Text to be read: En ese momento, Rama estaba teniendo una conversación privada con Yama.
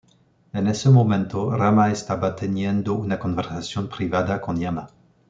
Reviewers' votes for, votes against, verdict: 2, 0, accepted